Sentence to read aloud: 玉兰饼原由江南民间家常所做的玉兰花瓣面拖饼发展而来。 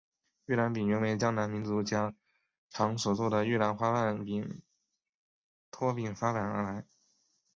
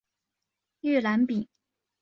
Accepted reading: first